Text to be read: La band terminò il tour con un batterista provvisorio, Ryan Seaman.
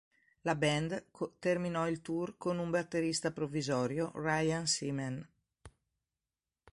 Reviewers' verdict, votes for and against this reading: rejected, 1, 2